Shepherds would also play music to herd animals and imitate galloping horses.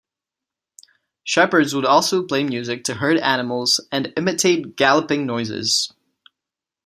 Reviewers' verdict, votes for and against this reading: rejected, 0, 2